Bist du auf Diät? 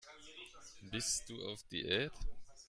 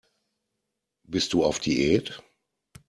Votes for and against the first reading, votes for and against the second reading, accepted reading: 1, 2, 2, 0, second